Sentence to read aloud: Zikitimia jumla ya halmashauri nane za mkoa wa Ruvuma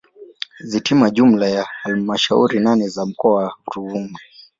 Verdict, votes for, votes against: accepted, 2, 0